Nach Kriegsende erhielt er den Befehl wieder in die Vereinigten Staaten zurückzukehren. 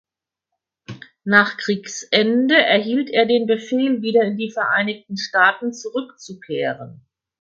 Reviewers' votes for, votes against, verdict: 4, 0, accepted